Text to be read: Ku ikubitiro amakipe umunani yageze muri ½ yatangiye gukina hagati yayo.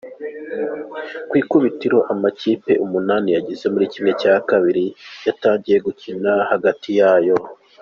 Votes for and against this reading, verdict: 2, 1, accepted